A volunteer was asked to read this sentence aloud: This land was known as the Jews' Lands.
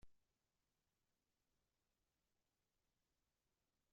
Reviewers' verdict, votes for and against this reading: rejected, 0, 2